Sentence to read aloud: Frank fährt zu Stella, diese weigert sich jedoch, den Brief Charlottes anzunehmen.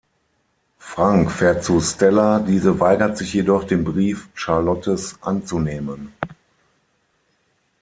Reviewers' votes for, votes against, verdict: 6, 0, accepted